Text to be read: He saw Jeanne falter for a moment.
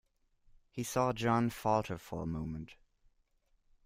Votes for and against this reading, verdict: 2, 0, accepted